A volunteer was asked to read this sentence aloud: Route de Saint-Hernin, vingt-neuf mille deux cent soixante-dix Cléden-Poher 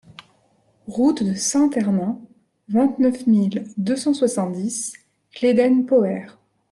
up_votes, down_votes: 1, 2